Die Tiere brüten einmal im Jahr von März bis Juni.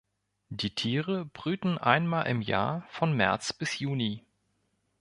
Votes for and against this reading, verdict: 1, 2, rejected